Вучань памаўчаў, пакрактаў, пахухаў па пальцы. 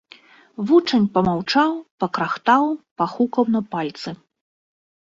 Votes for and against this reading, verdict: 1, 2, rejected